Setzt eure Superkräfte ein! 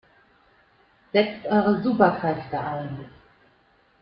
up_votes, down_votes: 1, 4